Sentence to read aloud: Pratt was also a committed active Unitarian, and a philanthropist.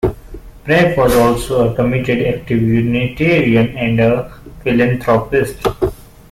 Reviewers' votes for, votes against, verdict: 2, 1, accepted